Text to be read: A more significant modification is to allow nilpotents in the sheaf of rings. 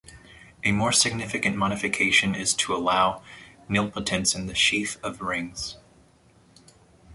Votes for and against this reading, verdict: 0, 2, rejected